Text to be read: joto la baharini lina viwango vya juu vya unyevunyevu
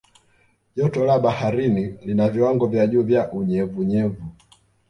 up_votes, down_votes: 1, 2